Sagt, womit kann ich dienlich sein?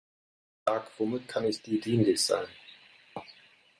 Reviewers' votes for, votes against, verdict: 0, 2, rejected